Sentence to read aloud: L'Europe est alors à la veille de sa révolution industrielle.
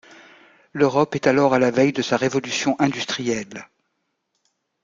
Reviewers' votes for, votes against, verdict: 2, 0, accepted